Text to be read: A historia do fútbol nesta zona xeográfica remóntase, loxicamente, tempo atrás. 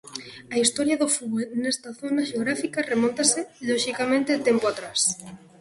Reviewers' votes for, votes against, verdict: 2, 0, accepted